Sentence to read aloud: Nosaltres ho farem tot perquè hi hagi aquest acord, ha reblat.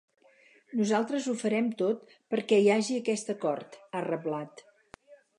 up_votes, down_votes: 4, 0